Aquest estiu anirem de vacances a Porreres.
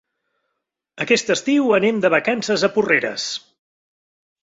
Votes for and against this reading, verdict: 0, 2, rejected